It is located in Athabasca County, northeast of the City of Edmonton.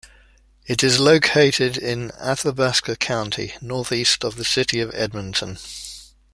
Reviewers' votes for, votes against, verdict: 2, 0, accepted